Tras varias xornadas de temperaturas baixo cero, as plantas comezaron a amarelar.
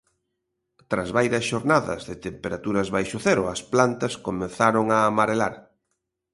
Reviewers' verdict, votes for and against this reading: rejected, 1, 2